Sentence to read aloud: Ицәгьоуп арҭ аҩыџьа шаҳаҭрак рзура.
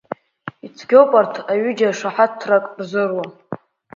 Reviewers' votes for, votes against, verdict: 3, 1, accepted